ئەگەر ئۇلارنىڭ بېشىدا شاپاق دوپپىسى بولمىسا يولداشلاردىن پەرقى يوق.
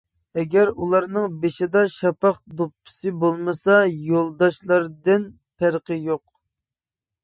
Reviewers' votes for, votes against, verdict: 2, 0, accepted